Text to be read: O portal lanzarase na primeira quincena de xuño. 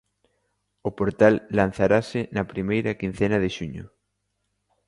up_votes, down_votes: 2, 0